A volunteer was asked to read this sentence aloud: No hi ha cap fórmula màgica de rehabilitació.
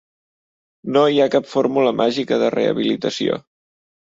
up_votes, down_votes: 3, 0